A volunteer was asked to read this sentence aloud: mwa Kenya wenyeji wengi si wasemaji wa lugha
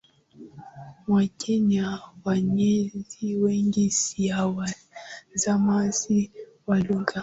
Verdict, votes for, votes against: accepted, 7, 5